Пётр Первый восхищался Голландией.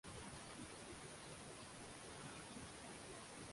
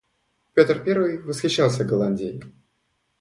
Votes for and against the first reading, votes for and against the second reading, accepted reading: 0, 2, 2, 0, second